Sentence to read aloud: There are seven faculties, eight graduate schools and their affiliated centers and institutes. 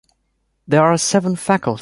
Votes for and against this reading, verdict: 1, 2, rejected